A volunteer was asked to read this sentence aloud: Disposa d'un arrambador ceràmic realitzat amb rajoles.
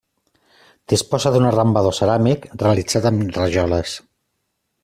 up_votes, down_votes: 2, 0